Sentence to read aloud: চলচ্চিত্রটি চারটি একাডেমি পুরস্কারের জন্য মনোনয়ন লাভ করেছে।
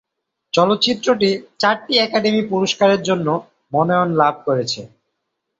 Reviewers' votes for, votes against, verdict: 1, 2, rejected